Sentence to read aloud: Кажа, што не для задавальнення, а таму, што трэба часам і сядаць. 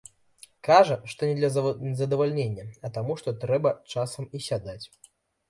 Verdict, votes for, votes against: rejected, 0, 2